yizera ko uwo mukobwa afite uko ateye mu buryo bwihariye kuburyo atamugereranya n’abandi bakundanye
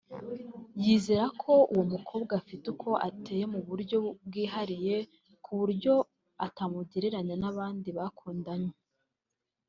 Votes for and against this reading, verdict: 2, 0, accepted